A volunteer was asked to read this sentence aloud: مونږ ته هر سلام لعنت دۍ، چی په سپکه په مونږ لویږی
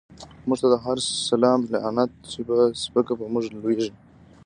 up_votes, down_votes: 0, 2